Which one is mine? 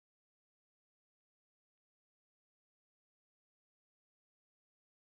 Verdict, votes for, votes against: rejected, 0, 3